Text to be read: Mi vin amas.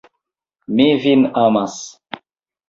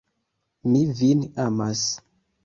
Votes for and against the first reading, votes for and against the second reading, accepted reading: 2, 0, 0, 2, first